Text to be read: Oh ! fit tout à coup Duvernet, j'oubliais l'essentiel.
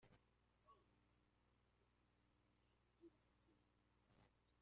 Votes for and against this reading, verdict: 0, 2, rejected